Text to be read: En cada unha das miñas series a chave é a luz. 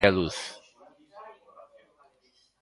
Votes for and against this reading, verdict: 0, 2, rejected